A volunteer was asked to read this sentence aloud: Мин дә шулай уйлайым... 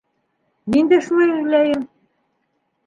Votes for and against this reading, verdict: 3, 0, accepted